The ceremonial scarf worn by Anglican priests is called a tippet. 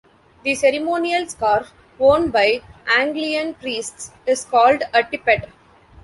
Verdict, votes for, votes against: rejected, 0, 2